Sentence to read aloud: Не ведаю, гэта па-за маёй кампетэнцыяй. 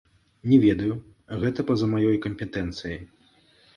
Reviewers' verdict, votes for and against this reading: rejected, 0, 2